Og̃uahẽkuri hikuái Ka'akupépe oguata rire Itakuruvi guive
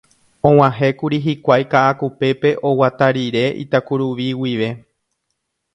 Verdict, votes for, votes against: accepted, 2, 0